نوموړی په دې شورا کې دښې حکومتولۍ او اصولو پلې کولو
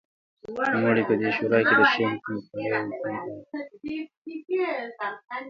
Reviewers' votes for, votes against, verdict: 1, 2, rejected